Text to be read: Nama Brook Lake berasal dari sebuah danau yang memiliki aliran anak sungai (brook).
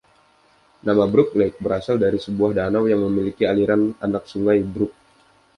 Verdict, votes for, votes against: accepted, 2, 0